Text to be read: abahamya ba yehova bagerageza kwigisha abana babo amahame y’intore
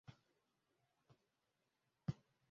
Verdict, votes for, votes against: rejected, 0, 2